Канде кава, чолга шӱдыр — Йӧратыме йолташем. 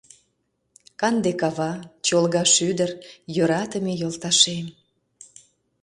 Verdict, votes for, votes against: accepted, 2, 0